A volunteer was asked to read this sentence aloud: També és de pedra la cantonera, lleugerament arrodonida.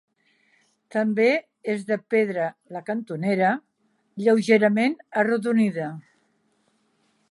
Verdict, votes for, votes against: accepted, 3, 0